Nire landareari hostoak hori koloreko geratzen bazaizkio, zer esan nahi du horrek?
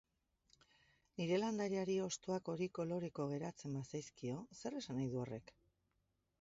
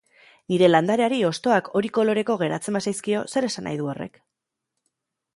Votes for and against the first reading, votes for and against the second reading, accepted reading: 1, 2, 6, 0, second